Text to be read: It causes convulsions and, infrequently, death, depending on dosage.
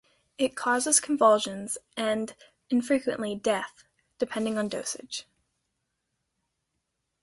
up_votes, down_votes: 2, 0